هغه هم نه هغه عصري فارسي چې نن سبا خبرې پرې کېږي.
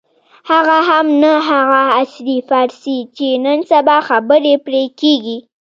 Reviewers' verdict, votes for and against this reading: accepted, 2, 0